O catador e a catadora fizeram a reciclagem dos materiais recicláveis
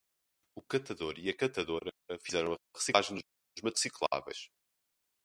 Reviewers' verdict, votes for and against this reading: rejected, 0, 4